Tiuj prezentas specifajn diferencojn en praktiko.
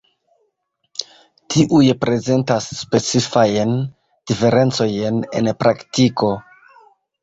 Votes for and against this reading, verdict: 1, 2, rejected